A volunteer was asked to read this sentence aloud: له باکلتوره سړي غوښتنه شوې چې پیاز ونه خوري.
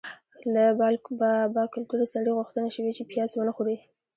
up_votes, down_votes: 2, 0